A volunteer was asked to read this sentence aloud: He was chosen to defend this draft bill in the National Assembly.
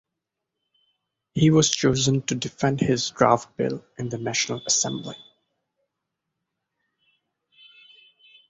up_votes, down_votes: 2, 1